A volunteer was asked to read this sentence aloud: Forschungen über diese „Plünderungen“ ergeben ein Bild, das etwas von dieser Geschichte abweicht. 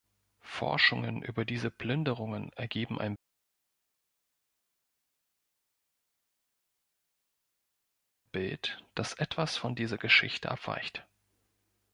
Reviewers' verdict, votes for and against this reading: rejected, 1, 2